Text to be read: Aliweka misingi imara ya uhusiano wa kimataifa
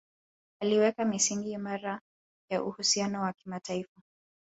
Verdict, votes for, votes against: accepted, 2, 1